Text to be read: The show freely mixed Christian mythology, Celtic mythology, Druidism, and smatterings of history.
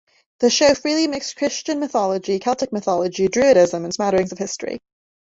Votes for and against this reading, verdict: 1, 2, rejected